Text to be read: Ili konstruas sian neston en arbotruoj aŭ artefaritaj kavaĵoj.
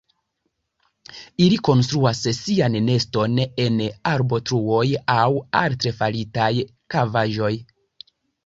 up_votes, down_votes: 1, 2